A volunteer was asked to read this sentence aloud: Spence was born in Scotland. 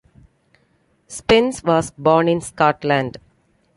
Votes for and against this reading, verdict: 2, 0, accepted